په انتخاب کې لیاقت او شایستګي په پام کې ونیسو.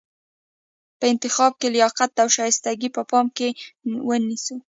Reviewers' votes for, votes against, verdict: 2, 1, accepted